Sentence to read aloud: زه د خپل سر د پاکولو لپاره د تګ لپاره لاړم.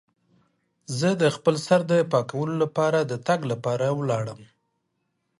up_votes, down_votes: 1, 2